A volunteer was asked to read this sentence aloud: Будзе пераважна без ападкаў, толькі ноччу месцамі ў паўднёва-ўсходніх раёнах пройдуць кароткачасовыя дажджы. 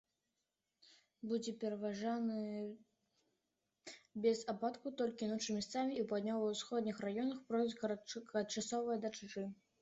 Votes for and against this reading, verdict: 0, 2, rejected